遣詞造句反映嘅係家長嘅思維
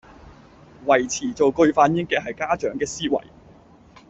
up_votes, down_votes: 0, 2